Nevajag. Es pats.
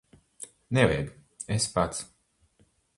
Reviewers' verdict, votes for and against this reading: accepted, 4, 0